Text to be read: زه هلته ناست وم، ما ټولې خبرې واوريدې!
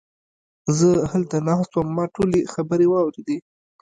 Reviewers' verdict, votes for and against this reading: rejected, 1, 2